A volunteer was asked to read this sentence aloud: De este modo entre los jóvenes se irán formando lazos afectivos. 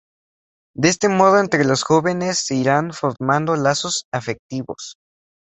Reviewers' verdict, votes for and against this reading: accepted, 2, 0